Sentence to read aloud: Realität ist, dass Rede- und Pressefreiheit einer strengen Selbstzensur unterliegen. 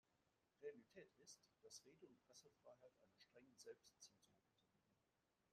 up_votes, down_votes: 0, 2